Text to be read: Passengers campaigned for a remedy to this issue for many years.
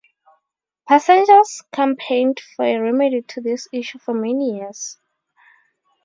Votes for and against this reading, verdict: 2, 0, accepted